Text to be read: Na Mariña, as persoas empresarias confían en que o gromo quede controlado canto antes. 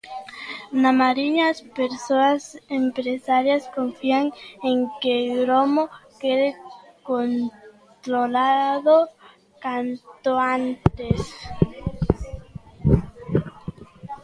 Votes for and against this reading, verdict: 0, 2, rejected